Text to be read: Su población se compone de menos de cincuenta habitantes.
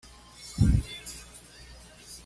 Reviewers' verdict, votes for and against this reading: rejected, 1, 2